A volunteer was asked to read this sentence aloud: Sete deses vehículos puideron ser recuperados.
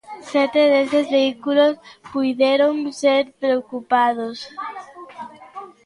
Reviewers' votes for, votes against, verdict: 0, 2, rejected